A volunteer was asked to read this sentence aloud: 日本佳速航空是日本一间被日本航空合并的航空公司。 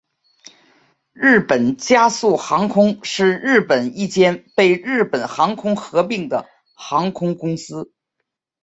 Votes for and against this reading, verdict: 5, 3, accepted